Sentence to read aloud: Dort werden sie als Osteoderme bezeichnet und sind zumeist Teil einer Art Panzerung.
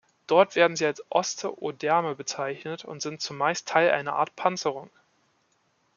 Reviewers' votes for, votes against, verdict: 1, 2, rejected